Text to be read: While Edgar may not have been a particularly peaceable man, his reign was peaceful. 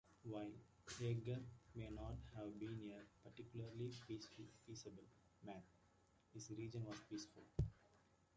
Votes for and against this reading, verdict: 0, 2, rejected